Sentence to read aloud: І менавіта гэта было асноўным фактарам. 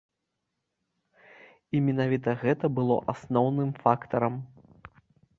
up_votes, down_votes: 2, 0